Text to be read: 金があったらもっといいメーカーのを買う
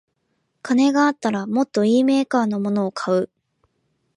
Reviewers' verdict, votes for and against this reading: accepted, 2, 1